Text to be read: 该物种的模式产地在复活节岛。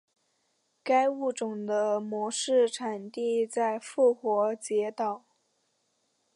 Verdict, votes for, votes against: accepted, 3, 0